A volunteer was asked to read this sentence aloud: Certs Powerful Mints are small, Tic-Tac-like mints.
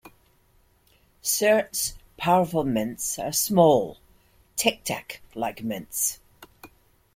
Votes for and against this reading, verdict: 2, 0, accepted